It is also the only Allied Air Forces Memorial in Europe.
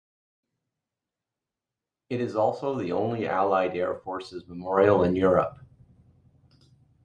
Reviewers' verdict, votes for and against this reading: accepted, 2, 0